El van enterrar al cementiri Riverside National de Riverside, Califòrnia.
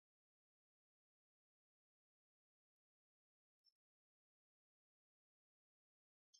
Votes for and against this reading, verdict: 0, 2, rejected